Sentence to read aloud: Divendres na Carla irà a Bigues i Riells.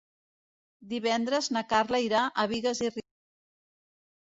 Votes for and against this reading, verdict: 0, 2, rejected